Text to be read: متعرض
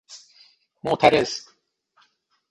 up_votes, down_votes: 3, 6